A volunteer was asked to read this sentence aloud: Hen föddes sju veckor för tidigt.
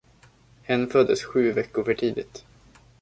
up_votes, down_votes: 2, 0